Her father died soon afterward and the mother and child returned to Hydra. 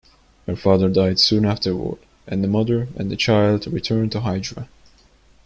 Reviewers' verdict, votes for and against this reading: rejected, 1, 2